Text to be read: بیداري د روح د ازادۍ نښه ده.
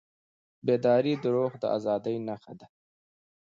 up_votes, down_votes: 2, 1